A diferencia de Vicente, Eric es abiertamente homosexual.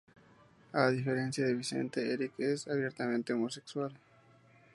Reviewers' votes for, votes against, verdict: 2, 0, accepted